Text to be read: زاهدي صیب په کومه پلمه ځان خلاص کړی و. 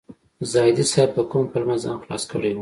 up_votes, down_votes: 1, 2